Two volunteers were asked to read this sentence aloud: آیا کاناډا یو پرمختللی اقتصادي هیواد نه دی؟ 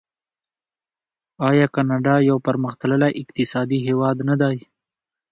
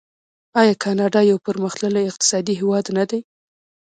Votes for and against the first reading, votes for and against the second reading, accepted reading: 2, 0, 1, 2, first